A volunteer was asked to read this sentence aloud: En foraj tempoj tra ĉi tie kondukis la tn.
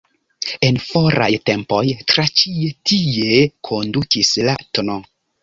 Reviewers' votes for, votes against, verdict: 0, 2, rejected